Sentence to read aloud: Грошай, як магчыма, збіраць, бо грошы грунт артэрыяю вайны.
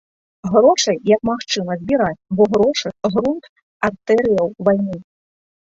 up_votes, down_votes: 3, 0